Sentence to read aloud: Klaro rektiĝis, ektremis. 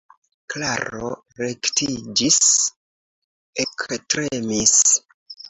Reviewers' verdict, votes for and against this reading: accepted, 2, 1